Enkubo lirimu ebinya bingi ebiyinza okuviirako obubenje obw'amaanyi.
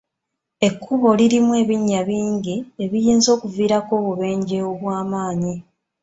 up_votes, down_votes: 2, 0